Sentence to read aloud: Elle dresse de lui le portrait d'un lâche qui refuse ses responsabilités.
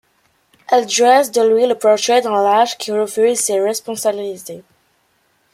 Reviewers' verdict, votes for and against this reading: accepted, 2, 1